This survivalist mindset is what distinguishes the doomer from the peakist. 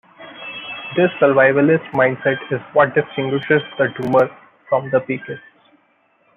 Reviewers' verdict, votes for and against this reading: accepted, 2, 0